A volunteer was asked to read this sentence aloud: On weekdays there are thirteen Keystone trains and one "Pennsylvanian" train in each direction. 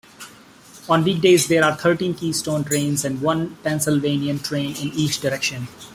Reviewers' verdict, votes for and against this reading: accepted, 2, 0